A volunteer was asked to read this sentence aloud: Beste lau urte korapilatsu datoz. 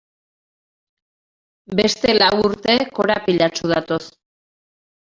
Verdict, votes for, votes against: rejected, 1, 2